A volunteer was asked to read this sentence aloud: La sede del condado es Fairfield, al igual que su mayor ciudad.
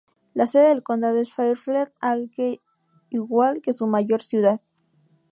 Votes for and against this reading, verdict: 0, 2, rejected